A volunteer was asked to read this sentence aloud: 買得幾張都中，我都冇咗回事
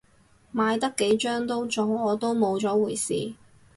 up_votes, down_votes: 2, 0